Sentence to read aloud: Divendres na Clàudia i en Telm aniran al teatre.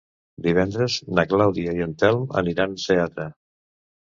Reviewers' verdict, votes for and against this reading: rejected, 0, 2